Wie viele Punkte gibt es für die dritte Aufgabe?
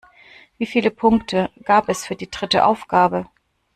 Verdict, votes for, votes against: rejected, 0, 2